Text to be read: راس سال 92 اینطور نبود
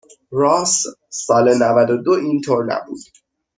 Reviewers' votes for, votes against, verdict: 0, 2, rejected